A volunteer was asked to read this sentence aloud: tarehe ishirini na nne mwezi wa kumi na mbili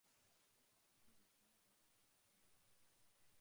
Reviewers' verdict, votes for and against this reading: rejected, 0, 2